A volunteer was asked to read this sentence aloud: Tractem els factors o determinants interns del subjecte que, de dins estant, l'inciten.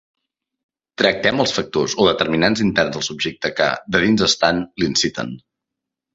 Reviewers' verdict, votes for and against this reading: accepted, 2, 0